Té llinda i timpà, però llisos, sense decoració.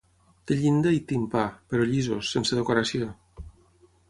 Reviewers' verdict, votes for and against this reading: accepted, 6, 0